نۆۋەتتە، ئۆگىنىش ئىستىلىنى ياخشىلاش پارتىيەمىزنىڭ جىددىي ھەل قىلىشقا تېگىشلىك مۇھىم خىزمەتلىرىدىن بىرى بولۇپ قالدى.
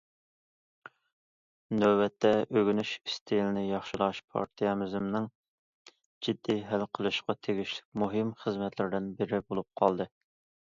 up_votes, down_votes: 2, 0